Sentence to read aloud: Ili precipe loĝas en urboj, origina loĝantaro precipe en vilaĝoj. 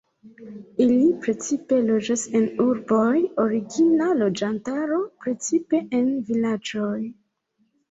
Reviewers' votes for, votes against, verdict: 1, 2, rejected